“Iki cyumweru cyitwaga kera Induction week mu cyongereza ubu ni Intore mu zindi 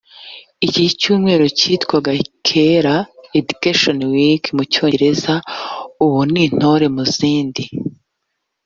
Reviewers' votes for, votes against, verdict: 1, 2, rejected